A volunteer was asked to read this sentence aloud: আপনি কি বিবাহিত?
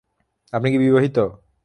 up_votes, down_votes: 3, 0